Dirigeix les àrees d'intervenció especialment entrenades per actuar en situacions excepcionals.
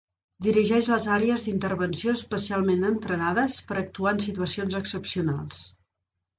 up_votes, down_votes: 2, 0